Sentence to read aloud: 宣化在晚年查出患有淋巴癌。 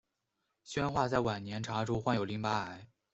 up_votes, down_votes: 2, 0